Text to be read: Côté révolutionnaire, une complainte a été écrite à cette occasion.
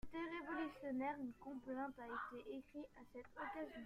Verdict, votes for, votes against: rejected, 0, 2